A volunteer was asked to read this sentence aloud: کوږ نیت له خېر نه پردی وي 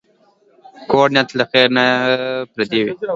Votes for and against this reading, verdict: 2, 1, accepted